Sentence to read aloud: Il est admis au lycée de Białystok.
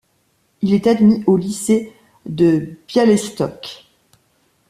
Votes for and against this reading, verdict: 1, 2, rejected